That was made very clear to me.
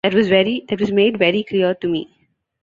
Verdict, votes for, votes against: rejected, 0, 2